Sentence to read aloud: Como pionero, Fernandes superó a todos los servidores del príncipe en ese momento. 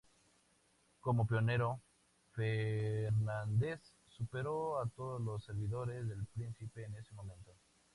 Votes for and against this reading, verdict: 2, 0, accepted